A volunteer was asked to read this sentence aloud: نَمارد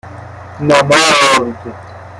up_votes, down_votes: 1, 2